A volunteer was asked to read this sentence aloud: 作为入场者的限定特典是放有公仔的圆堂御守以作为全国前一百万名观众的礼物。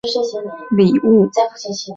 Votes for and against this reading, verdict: 1, 2, rejected